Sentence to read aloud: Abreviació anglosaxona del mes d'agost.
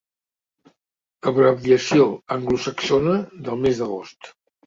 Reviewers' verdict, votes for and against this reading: accepted, 3, 0